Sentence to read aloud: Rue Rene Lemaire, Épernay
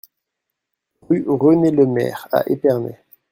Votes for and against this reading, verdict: 0, 2, rejected